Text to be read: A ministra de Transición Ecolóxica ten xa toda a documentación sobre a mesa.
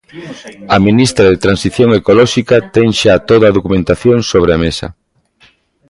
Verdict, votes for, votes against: accepted, 2, 0